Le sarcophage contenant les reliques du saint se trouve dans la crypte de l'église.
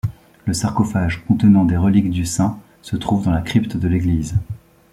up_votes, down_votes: 1, 2